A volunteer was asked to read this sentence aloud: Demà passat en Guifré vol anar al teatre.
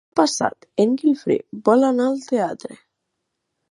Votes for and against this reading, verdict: 0, 2, rejected